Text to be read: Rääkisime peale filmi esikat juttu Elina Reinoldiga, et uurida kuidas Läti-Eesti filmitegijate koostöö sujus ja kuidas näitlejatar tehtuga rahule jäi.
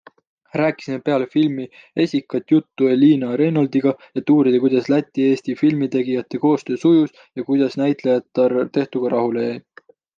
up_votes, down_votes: 2, 0